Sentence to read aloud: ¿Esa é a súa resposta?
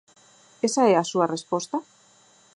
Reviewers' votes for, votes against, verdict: 4, 0, accepted